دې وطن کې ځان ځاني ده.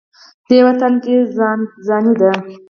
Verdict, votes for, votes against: accepted, 4, 0